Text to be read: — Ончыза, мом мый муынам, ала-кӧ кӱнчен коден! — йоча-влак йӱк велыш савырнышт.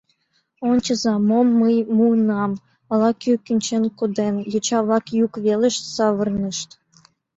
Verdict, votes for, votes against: accepted, 2, 0